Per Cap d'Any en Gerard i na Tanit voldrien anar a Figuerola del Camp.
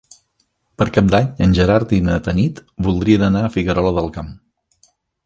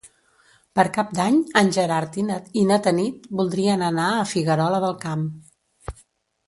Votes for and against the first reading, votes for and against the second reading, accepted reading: 3, 0, 1, 2, first